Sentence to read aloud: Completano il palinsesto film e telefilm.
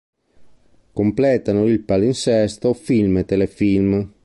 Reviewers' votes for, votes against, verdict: 2, 0, accepted